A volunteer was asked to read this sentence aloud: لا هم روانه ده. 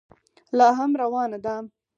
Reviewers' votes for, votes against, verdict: 4, 0, accepted